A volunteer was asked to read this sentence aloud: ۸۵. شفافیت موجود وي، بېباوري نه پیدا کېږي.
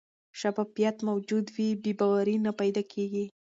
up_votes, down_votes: 0, 2